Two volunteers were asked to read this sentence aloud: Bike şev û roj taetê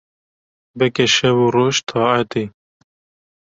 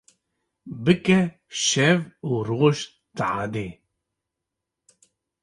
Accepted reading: first